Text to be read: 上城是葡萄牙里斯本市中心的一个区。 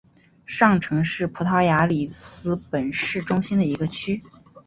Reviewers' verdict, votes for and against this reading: accepted, 3, 0